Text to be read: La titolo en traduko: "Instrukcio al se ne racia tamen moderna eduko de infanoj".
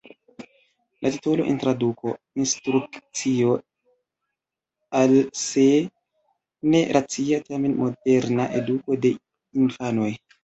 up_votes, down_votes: 2, 0